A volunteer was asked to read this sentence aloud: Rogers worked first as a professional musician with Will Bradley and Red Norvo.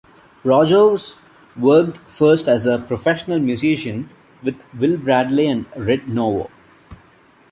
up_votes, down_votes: 2, 0